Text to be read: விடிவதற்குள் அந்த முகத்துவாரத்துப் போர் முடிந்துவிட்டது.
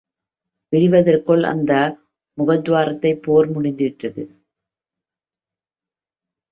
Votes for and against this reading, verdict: 2, 0, accepted